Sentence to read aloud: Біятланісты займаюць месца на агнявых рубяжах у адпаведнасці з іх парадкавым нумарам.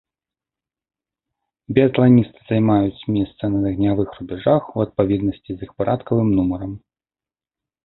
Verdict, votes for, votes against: accepted, 2, 0